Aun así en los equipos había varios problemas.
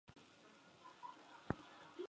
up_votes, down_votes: 0, 4